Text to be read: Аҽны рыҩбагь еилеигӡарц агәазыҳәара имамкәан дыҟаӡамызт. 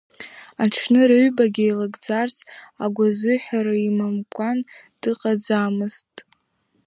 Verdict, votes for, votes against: rejected, 1, 2